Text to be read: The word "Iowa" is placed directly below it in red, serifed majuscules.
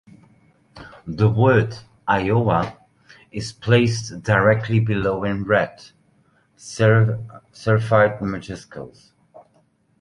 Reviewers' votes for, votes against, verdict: 2, 0, accepted